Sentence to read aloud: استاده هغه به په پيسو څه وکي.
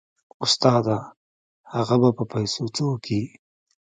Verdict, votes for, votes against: rejected, 0, 2